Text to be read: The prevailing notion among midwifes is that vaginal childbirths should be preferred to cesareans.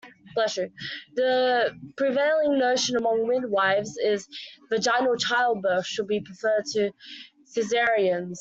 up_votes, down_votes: 2, 1